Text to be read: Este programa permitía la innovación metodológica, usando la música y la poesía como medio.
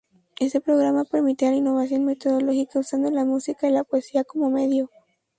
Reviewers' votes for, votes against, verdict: 0, 2, rejected